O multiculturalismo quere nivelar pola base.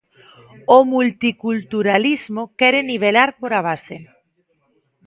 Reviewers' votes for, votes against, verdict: 1, 2, rejected